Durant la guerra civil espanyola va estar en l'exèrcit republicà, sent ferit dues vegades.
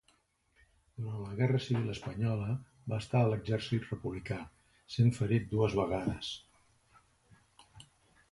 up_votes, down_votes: 2, 1